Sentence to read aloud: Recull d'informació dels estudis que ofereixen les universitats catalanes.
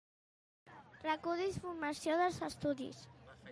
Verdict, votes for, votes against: rejected, 0, 2